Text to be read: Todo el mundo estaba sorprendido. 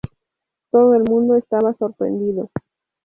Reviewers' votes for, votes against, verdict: 0, 2, rejected